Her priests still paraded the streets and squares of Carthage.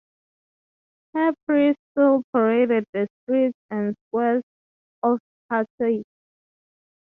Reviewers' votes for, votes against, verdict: 0, 3, rejected